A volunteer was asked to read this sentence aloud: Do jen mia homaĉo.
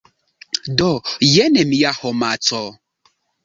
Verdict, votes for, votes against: rejected, 0, 2